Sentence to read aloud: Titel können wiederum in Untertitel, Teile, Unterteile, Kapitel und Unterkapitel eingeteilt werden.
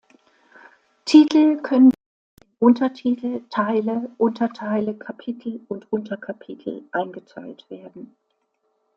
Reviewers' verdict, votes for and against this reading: rejected, 0, 2